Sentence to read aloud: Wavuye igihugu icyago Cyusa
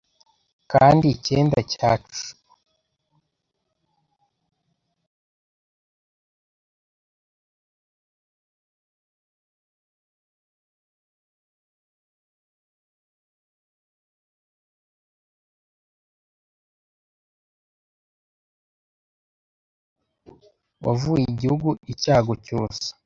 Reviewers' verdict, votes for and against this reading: rejected, 0, 2